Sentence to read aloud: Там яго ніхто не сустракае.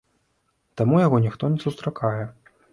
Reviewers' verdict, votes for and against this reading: rejected, 1, 2